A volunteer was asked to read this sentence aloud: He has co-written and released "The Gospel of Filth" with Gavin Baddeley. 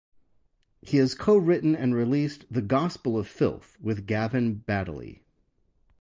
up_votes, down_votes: 0, 2